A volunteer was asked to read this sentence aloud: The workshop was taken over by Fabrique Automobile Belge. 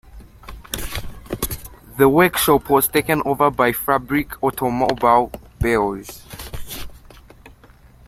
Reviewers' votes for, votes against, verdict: 1, 2, rejected